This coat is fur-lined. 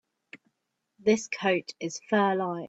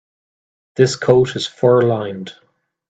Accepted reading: second